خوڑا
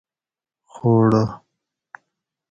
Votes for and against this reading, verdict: 2, 2, rejected